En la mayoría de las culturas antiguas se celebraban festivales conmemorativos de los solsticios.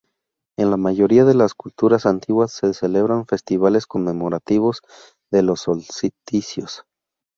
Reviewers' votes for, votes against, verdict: 2, 0, accepted